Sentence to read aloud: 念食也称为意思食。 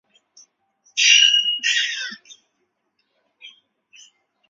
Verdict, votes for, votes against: rejected, 0, 3